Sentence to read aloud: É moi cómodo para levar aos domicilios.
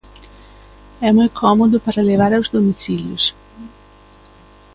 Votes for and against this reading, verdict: 2, 0, accepted